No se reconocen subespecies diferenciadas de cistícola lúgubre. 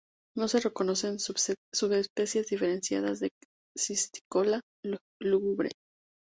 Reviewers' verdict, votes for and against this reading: rejected, 0, 2